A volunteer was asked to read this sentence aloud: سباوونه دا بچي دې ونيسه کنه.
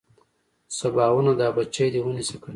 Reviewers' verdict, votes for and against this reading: accepted, 2, 1